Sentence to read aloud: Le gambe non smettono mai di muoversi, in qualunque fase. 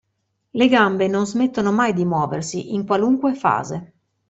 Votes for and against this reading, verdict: 2, 0, accepted